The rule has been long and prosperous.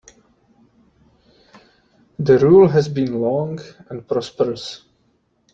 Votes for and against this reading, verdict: 2, 0, accepted